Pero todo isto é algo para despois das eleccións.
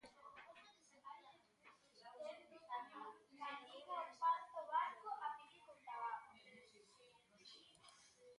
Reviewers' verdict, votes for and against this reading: rejected, 0, 2